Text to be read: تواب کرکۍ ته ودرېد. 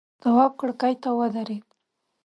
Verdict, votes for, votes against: accepted, 2, 0